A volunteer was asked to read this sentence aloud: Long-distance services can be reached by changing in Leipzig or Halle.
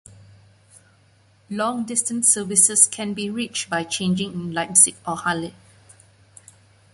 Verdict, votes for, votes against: accepted, 2, 1